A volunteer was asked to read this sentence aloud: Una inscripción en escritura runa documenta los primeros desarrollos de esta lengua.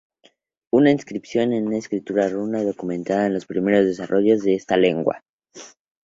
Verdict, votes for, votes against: accepted, 2, 0